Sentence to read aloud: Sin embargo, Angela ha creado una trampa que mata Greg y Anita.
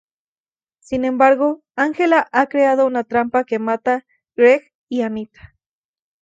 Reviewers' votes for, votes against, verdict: 2, 0, accepted